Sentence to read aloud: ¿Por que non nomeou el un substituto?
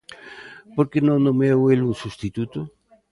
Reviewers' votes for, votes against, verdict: 2, 0, accepted